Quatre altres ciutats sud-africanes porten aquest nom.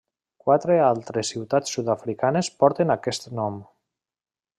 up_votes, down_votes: 3, 0